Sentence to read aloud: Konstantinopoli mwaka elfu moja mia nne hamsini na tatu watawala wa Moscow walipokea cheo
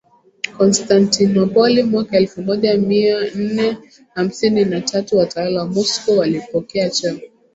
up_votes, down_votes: 1, 2